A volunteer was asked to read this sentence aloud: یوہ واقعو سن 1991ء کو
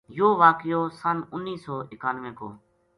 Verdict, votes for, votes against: rejected, 0, 2